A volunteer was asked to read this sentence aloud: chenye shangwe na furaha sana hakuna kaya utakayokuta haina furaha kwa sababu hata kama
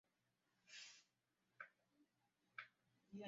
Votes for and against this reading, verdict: 0, 2, rejected